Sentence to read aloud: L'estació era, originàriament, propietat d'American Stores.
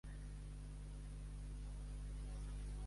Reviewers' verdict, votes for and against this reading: rejected, 0, 2